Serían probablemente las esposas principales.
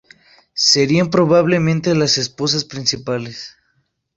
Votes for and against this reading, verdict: 2, 0, accepted